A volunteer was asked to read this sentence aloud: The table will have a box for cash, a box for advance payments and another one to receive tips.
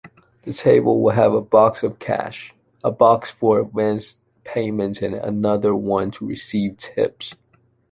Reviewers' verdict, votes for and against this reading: rejected, 1, 2